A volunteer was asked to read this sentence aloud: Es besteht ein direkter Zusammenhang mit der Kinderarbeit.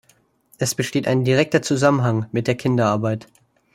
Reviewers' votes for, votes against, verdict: 2, 0, accepted